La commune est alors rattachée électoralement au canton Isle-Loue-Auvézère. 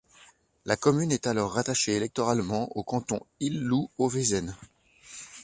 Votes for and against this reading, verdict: 1, 2, rejected